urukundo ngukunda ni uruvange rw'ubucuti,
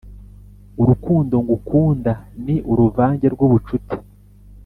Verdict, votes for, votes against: accepted, 2, 0